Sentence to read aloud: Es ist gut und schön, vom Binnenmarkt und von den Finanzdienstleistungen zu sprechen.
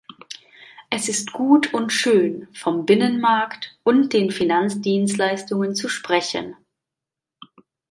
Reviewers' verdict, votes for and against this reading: rejected, 0, 3